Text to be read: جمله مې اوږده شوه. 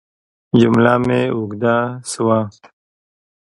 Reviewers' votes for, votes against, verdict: 2, 0, accepted